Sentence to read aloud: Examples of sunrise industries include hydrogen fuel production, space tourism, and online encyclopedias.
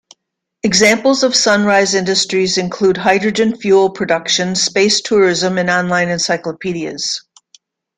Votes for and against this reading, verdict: 2, 0, accepted